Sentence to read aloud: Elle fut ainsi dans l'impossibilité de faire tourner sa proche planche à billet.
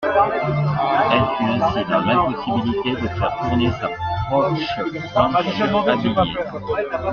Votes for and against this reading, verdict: 2, 1, accepted